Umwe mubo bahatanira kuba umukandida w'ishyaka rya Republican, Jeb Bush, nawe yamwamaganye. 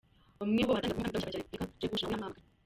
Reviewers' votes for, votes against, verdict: 0, 2, rejected